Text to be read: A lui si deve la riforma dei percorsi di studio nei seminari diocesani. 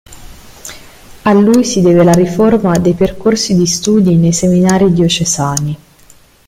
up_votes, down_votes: 2, 0